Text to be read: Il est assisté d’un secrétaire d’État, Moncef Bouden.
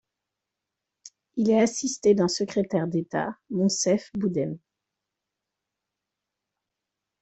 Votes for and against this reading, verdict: 2, 0, accepted